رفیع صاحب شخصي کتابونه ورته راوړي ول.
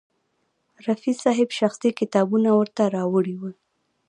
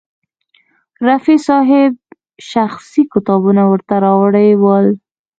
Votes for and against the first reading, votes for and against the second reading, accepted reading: 0, 2, 2, 0, second